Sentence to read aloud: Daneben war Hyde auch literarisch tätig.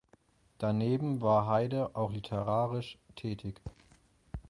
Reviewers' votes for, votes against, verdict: 0, 4, rejected